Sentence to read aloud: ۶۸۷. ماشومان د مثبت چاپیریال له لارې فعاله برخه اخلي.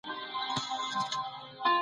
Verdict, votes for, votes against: rejected, 0, 2